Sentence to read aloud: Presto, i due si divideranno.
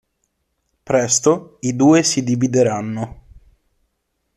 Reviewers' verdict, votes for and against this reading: accepted, 2, 0